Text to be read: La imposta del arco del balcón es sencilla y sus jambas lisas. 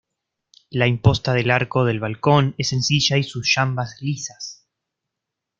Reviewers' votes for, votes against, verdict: 2, 0, accepted